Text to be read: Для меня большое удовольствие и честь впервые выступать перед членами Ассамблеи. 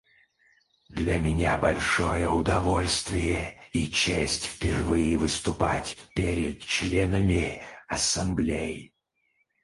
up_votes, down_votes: 2, 2